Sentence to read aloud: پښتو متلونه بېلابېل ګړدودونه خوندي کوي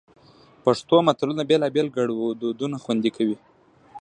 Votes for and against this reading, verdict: 2, 0, accepted